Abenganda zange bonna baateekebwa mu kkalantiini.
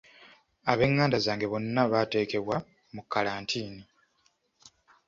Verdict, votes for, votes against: accepted, 2, 0